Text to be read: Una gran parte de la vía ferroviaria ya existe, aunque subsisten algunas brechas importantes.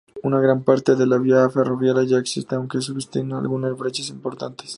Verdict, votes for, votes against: rejected, 0, 2